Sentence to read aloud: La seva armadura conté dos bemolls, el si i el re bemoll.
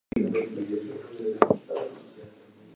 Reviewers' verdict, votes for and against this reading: rejected, 0, 2